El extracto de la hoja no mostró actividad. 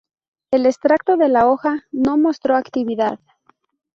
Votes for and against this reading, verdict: 2, 0, accepted